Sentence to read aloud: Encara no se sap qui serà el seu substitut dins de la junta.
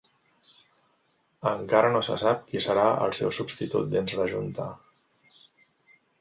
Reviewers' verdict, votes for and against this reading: rejected, 1, 2